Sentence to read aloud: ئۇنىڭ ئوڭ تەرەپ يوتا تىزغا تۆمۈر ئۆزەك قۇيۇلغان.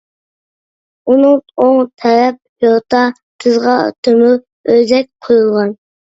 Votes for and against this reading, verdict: 1, 2, rejected